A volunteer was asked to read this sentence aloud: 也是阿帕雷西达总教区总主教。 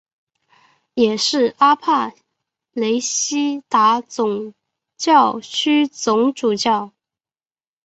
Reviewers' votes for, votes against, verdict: 2, 3, rejected